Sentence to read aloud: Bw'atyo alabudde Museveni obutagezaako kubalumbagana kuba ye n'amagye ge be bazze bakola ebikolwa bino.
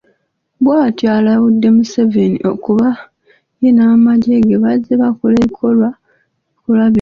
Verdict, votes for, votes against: rejected, 0, 2